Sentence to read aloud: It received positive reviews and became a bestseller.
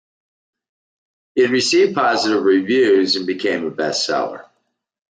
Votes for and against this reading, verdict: 2, 1, accepted